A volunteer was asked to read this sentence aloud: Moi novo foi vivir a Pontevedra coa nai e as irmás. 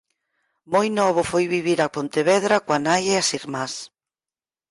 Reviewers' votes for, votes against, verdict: 4, 0, accepted